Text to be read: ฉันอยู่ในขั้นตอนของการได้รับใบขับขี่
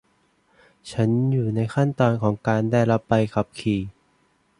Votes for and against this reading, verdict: 2, 0, accepted